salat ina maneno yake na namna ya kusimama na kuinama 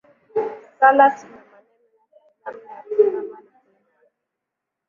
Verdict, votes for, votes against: rejected, 1, 8